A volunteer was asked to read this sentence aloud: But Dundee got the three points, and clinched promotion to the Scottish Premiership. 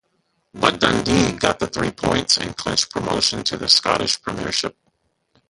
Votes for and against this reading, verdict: 0, 2, rejected